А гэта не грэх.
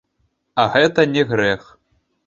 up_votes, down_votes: 3, 1